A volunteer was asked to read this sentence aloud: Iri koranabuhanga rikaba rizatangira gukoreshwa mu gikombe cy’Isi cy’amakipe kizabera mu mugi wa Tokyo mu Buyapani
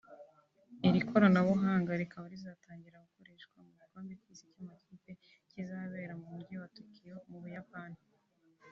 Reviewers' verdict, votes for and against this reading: rejected, 0, 2